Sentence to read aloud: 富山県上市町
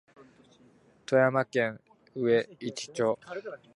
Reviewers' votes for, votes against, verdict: 2, 0, accepted